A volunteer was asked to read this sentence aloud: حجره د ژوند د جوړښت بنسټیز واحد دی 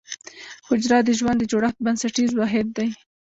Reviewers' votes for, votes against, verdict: 0, 2, rejected